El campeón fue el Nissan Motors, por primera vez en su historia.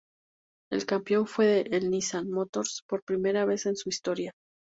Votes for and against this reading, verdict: 2, 0, accepted